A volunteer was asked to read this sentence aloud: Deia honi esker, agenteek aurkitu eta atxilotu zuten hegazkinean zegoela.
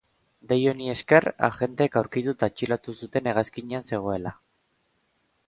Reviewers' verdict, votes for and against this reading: accepted, 2, 0